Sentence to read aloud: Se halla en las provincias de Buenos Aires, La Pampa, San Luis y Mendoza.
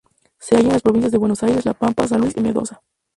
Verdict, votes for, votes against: accepted, 2, 0